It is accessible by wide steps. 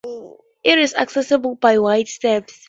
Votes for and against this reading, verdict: 2, 0, accepted